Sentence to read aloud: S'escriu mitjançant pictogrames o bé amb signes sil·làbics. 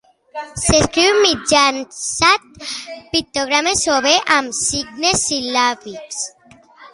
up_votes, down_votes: 2, 0